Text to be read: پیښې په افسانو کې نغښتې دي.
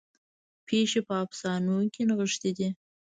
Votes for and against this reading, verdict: 1, 2, rejected